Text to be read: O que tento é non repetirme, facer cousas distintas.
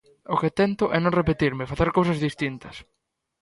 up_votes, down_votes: 2, 0